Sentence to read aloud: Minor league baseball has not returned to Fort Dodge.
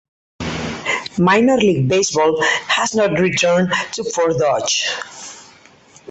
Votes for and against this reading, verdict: 2, 4, rejected